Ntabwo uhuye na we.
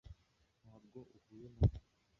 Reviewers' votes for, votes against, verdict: 1, 2, rejected